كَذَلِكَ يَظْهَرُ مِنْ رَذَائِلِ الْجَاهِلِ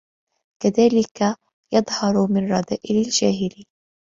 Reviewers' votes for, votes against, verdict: 2, 0, accepted